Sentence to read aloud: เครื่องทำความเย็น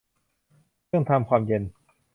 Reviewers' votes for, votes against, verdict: 2, 0, accepted